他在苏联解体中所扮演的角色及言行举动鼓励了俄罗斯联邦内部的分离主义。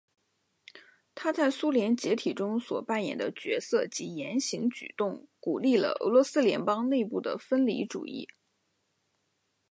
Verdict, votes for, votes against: accepted, 2, 0